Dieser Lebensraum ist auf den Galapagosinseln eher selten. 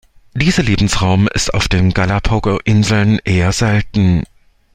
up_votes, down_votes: 0, 2